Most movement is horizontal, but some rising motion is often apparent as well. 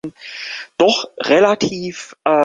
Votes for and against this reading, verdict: 0, 2, rejected